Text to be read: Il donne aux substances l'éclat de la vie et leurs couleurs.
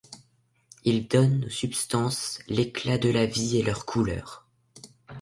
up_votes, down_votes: 2, 0